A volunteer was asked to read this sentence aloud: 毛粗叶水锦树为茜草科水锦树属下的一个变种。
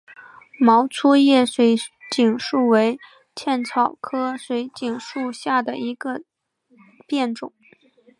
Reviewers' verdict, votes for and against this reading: accepted, 3, 1